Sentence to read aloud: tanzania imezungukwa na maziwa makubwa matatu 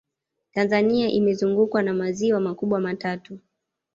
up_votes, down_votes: 2, 0